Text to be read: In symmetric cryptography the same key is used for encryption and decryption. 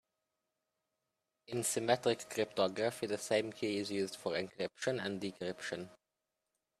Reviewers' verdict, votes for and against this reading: accepted, 2, 0